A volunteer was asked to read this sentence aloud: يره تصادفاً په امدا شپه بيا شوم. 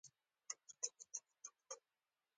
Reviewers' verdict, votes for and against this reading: accepted, 2, 1